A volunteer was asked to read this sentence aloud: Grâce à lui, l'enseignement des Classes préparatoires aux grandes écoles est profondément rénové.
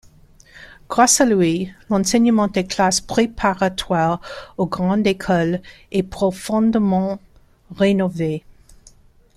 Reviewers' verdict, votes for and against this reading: accepted, 2, 0